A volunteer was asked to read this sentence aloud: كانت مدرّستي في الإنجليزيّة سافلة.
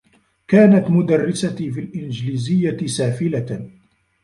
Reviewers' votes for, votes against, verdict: 0, 2, rejected